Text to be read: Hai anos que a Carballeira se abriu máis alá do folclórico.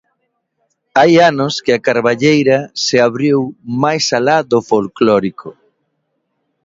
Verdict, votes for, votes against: accepted, 2, 0